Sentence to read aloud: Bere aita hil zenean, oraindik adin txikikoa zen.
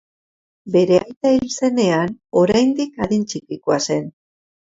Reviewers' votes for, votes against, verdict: 2, 0, accepted